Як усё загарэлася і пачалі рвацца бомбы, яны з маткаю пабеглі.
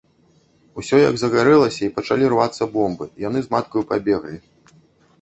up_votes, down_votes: 1, 2